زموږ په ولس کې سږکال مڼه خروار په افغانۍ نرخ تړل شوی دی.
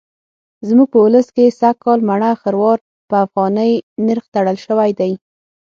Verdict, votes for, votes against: accepted, 9, 0